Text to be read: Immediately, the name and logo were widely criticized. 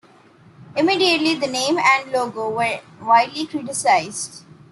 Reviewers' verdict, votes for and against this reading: accepted, 2, 0